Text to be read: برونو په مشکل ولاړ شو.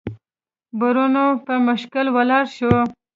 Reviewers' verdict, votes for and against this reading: accepted, 2, 0